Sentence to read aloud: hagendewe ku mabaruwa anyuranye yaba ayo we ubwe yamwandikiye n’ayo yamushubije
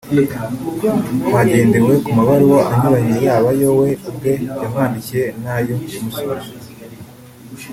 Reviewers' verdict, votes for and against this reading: rejected, 1, 2